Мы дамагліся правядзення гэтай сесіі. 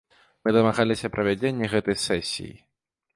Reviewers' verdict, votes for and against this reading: rejected, 0, 2